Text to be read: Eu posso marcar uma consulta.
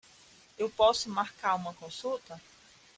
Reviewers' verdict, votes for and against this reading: rejected, 1, 2